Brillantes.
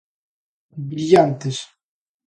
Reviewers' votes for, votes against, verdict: 2, 0, accepted